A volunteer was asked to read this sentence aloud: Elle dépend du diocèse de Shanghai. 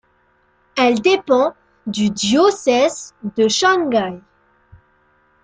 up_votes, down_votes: 1, 2